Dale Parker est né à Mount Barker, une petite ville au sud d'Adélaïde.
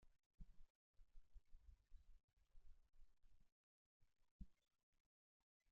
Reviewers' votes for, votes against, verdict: 0, 2, rejected